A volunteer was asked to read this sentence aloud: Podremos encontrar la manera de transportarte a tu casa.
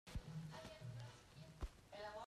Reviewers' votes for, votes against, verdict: 0, 3, rejected